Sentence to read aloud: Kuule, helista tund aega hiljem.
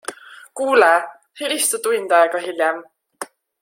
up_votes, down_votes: 3, 0